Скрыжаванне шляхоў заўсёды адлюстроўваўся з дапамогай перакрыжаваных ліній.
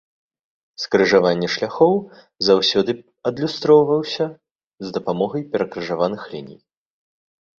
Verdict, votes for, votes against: accepted, 2, 0